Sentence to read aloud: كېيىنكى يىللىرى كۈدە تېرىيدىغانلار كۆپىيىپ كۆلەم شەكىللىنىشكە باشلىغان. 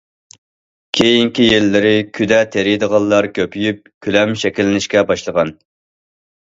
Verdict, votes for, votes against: accepted, 2, 0